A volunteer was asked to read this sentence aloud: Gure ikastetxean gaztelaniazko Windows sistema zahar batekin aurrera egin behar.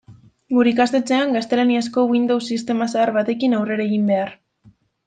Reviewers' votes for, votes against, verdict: 2, 0, accepted